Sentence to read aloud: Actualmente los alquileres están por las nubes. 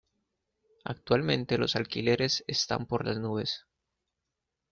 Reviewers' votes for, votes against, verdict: 2, 0, accepted